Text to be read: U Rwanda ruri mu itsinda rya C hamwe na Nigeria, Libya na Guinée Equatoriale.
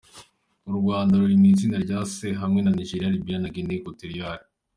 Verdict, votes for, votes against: accepted, 2, 0